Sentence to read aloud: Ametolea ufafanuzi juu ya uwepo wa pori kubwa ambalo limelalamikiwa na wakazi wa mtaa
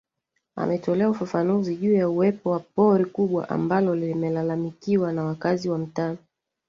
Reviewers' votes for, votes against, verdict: 2, 1, accepted